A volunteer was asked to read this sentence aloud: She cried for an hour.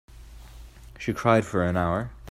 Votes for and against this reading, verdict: 3, 0, accepted